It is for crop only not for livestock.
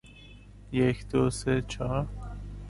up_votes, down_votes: 0, 2